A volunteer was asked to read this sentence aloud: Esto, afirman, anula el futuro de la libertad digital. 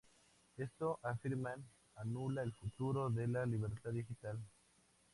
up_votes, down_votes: 2, 0